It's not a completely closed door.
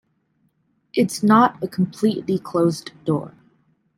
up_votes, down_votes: 2, 0